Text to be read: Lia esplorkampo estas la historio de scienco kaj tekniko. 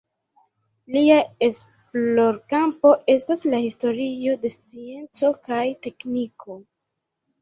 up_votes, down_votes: 1, 2